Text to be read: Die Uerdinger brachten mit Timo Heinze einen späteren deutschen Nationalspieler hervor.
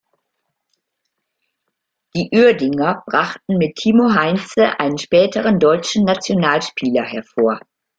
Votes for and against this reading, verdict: 2, 0, accepted